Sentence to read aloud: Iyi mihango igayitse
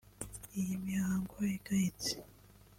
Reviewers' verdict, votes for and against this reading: rejected, 0, 2